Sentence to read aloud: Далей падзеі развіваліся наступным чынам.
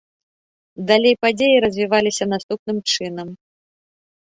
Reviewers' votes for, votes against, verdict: 2, 0, accepted